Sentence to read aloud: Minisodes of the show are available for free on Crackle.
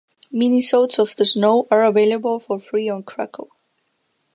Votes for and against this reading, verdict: 1, 3, rejected